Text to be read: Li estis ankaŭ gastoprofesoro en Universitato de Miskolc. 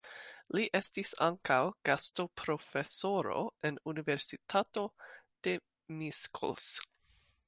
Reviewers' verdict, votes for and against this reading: rejected, 0, 2